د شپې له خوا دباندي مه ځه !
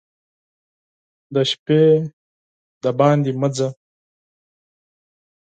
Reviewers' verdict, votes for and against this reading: accepted, 4, 2